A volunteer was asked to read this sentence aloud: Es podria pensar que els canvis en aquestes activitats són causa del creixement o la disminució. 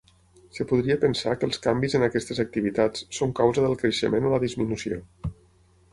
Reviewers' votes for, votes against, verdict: 3, 6, rejected